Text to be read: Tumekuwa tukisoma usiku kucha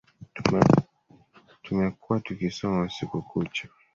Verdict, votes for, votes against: accepted, 2, 1